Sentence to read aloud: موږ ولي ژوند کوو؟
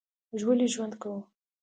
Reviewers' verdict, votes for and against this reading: accepted, 2, 0